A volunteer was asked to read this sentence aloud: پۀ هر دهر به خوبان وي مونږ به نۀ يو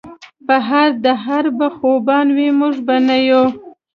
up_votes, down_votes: 2, 0